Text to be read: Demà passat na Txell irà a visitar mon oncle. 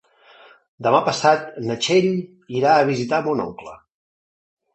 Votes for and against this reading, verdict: 3, 0, accepted